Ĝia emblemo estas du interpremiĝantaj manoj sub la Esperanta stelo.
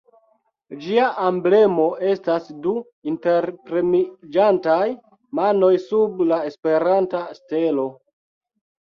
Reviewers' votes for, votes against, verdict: 1, 2, rejected